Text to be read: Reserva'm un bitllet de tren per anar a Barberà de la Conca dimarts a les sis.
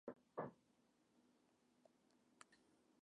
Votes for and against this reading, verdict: 1, 2, rejected